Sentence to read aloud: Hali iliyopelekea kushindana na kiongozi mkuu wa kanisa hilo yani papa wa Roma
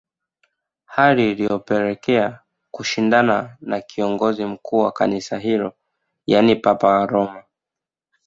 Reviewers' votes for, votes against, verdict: 2, 0, accepted